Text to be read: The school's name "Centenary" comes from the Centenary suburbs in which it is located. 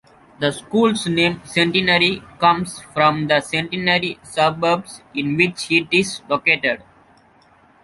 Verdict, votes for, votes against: accepted, 2, 0